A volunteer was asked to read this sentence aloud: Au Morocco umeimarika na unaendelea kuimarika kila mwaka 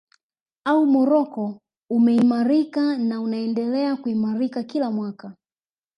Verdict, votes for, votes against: rejected, 1, 2